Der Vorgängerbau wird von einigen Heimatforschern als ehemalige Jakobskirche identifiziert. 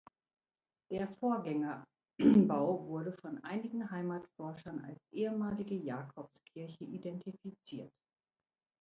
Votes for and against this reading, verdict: 0, 2, rejected